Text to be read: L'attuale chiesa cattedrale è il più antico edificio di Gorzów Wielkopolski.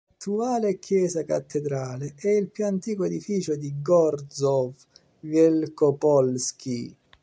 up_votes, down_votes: 1, 2